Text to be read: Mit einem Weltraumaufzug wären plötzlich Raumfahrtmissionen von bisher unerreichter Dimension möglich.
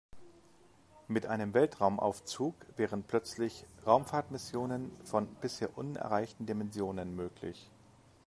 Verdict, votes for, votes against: rejected, 0, 3